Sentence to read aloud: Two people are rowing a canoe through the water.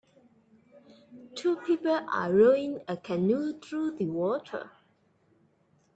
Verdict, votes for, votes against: accepted, 3, 2